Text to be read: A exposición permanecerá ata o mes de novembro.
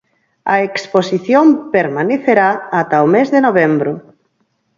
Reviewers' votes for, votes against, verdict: 4, 0, accepted